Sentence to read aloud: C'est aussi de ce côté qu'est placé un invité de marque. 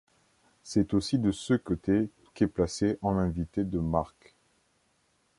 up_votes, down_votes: 1, 2